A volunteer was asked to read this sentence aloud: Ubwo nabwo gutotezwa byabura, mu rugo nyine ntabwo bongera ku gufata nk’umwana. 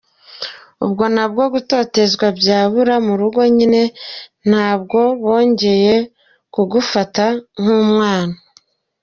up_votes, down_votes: 2, 1